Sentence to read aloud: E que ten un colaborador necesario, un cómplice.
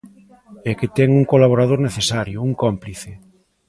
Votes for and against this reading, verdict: 2, 0, accepted